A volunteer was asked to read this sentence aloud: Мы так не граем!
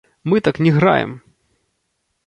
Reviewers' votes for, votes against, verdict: 1, 2, rejected